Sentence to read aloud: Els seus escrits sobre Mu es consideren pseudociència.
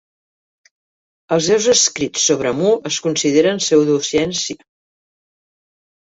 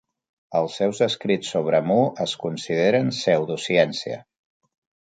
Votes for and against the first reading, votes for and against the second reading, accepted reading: 1, 2, 5, 0, second